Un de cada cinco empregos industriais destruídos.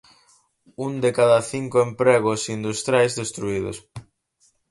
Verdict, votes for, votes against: accepted, 4, 0